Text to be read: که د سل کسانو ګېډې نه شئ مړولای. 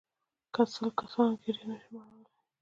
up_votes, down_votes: 1, 2